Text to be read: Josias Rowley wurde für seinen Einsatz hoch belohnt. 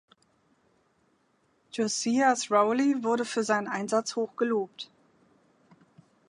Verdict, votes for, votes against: rejected, 0, 2